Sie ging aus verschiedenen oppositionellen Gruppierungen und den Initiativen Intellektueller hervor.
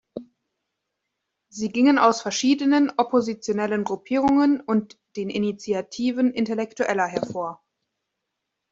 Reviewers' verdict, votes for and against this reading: rejected, 0, 2